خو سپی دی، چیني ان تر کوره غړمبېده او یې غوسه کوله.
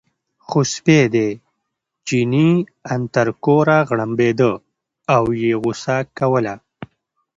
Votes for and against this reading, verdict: 2, 0, accepted